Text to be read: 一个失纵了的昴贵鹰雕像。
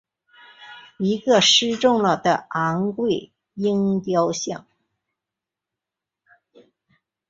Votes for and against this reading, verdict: 3, 0, accepted